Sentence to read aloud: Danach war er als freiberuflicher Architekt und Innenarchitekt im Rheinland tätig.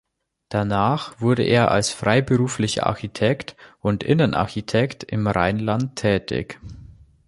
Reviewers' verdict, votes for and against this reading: rejected, 1, 2